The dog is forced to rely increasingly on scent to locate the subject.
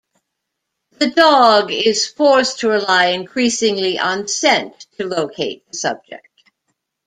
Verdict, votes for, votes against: accepted, 2, 0